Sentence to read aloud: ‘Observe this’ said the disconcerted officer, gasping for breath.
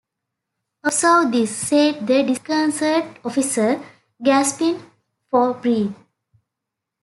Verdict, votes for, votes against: accepted, 2, 1